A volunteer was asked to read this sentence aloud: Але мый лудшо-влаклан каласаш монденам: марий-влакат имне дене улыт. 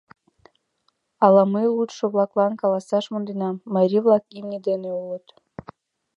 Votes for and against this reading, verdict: 1, 2, rejected